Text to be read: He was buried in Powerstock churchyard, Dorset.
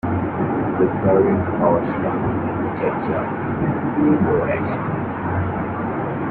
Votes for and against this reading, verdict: 0, 2, rejected